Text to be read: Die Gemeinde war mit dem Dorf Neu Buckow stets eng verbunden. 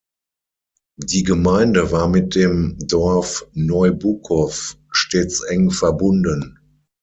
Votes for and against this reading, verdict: 3, 6, rejected